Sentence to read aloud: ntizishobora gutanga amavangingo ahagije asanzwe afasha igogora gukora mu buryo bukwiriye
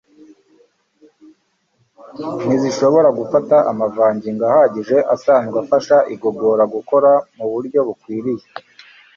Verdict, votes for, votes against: rejected, 1, 2